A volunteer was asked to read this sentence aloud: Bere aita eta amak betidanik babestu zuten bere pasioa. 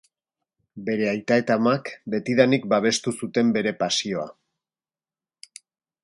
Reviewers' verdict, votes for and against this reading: accepted, 2, 0